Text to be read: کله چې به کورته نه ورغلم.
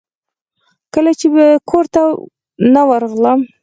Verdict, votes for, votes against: accepted, 4, 0